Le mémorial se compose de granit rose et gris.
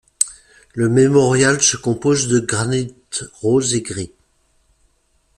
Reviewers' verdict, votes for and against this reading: accepted, 2, 0